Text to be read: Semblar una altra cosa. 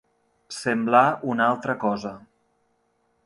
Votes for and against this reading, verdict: 2, 0, accepted